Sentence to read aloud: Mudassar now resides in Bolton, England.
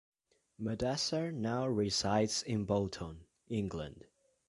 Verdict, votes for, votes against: accepted, 2, 0